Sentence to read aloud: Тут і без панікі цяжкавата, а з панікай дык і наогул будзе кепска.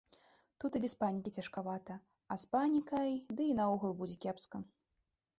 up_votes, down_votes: 1, 2